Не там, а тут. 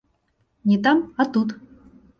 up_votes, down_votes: 2, 0